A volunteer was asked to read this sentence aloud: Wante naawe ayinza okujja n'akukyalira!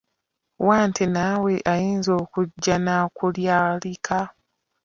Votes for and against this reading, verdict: 0, 2, rejected